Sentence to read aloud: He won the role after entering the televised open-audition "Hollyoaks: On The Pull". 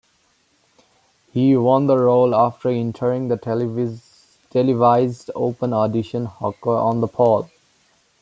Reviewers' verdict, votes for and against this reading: rejected, 0, 2